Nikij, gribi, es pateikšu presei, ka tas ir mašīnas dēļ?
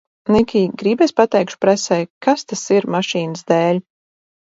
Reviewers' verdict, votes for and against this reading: rejected, 2, 2